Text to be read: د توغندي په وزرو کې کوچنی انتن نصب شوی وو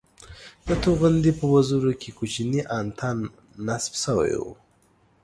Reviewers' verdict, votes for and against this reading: rejected, 1, 2